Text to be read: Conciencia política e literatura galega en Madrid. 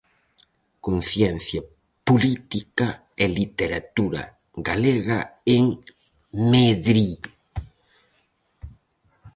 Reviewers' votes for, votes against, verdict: 0, 4, rejected